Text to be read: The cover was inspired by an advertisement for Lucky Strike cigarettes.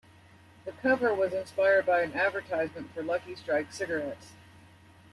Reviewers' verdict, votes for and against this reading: accepted, 2, 0